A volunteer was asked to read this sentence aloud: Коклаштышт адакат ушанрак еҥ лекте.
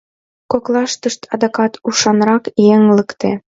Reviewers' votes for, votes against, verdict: 2, 0, accepted